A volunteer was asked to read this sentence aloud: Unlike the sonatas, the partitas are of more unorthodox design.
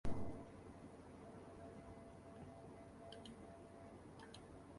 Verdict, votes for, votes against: rejected, 0, 2